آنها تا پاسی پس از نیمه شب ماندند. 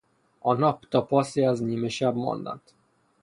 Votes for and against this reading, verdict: 0, 3, rejected